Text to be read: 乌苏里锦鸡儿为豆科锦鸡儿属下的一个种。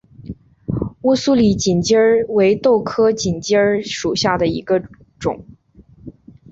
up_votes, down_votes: 6, 0